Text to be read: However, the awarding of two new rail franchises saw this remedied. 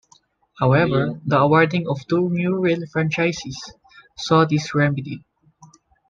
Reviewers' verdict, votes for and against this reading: rejected, 1, 2